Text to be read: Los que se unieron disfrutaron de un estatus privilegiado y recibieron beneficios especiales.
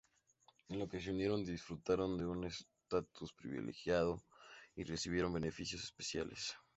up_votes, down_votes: 2, 2